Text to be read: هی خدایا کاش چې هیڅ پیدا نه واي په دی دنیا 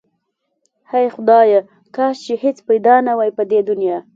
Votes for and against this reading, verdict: 2, 0, accepted